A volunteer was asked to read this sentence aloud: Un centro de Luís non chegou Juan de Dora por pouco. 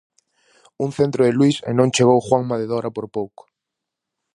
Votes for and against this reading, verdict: 0, 4, rejected